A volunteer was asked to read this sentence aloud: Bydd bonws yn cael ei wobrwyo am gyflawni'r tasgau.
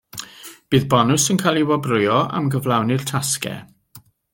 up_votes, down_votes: 2, 0